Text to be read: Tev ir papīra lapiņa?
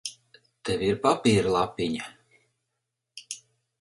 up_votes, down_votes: 4, 0